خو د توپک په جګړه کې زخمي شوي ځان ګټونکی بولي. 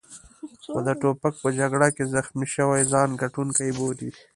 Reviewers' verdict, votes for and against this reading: rejected, 1, 2